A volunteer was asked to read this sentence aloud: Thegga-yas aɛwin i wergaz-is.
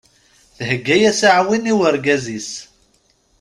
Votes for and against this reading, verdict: 2, 0, accepted